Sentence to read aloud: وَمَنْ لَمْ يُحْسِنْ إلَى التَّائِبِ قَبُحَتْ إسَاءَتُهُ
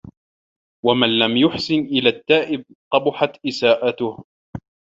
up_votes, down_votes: 2, 0